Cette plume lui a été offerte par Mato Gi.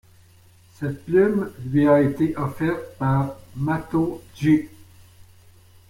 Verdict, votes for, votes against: accepted, 2, 0